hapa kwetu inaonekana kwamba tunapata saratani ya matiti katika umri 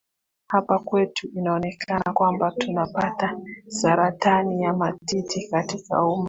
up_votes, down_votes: 1, 2